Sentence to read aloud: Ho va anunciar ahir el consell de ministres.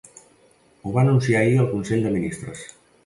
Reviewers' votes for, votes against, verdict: 3, 0, accepted